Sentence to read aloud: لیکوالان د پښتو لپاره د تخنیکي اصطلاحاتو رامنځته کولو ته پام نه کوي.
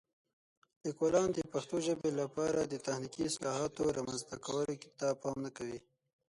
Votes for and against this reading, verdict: 3, 6, rejected